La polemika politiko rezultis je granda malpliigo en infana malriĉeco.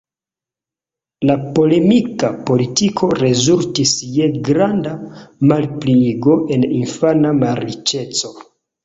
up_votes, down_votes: 2, 0